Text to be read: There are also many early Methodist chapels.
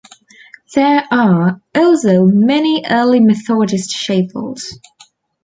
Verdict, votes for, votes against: rejected, 0, 2